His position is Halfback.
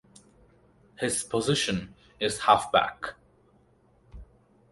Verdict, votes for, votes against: accepted, 4, 0